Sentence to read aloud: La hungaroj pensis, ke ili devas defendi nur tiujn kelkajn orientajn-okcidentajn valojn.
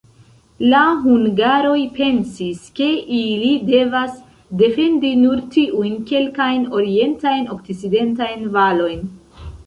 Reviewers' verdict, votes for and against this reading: accepted, 2, 0